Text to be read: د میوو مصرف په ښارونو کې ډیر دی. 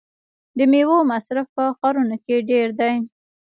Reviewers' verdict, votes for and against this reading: rejected, 1, 2